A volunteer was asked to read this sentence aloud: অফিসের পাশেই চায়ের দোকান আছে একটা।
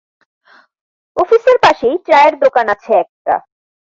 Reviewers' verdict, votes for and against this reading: accepted, 2, 0